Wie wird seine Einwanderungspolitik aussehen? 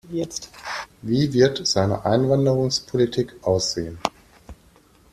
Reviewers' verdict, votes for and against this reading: rejected, 1, 2